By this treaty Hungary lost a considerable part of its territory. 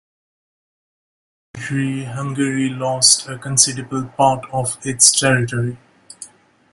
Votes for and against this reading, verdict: 0, 3, rejected